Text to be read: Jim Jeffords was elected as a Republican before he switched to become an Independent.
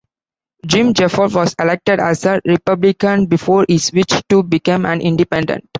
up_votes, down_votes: 2, 0